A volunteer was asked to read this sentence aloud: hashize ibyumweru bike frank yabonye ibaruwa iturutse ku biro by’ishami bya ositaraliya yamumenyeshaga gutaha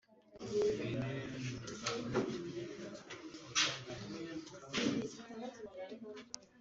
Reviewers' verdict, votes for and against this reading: rejected, 0, 3